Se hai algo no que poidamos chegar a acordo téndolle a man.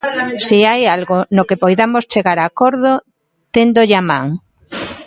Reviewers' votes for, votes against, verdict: 1, 2, rejected